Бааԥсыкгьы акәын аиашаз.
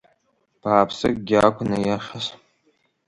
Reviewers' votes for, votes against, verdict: 2, 0, accepted